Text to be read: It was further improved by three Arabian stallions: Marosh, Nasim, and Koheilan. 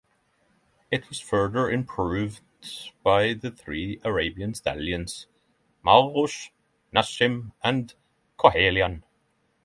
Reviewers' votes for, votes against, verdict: 0, 3, rejected